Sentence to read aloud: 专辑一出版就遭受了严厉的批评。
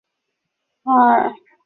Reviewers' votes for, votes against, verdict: 0, 2, rejected